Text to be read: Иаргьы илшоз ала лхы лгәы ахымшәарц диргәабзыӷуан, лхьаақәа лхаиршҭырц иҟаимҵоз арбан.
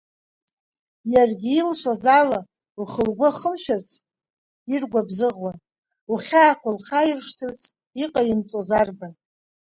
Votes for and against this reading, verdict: 2, 0, accepted